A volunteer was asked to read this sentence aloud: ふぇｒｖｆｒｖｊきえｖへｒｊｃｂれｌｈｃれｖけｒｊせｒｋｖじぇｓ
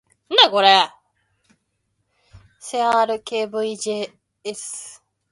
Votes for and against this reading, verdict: 0, 2, rejected